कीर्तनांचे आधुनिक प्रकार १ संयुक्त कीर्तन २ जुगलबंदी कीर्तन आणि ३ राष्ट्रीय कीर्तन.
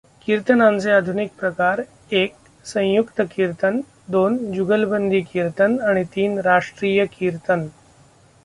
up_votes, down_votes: 0, 2